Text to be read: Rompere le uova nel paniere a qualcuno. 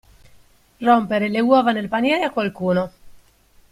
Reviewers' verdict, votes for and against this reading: accepted, 2, 0